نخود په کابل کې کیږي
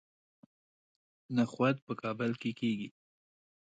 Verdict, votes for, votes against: rejected, 0, 2